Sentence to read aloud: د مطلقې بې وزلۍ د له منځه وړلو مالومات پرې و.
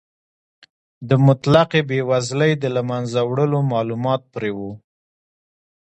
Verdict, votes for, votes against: accepted, 2, 1